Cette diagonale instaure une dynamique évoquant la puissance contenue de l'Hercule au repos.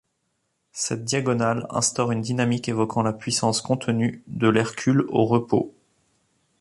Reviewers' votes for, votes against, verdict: 2, 0, accepted